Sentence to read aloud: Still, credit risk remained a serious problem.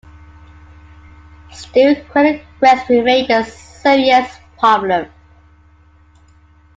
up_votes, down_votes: 2, 1